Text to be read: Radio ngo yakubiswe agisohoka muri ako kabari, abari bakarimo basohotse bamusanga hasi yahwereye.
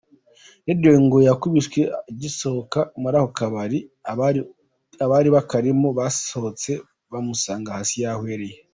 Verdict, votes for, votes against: rejected, 0, 2